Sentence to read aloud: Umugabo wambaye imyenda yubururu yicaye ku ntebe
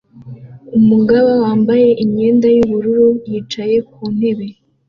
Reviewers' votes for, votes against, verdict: 2, 0, accepted